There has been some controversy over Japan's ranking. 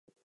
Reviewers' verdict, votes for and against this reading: accepted, 2, 0